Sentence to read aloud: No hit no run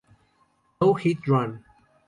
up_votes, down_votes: 0, 2